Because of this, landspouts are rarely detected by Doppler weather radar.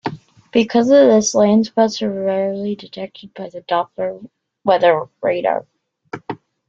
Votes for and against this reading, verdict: 0, 2, rejected